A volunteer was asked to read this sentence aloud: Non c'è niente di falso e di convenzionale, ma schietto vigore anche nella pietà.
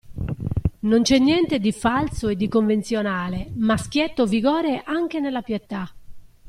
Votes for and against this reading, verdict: 2, 0, accepted